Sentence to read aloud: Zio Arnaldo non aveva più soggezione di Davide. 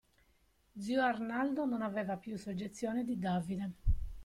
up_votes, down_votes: 2, 0